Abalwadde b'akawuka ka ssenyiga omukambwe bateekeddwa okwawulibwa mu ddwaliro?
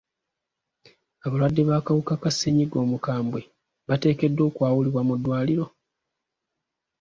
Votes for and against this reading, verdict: 2, 0, accepted